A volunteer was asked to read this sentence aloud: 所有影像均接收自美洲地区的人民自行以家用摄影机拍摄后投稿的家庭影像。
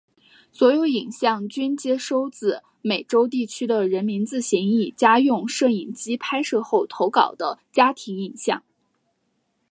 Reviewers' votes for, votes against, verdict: 0, 2, rejected